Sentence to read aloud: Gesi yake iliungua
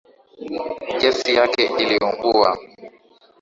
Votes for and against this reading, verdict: 3, 0, accepted